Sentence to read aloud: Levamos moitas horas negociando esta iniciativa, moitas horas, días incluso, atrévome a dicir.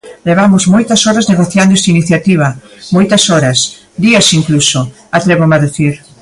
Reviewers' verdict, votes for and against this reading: accepted, 2, 1